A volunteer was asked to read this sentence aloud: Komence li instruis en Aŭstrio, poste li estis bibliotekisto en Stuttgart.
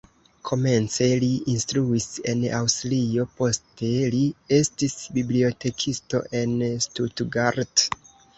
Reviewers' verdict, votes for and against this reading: accepted, 2, 0